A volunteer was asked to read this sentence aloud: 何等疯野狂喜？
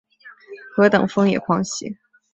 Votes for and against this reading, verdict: 4, 0, accepted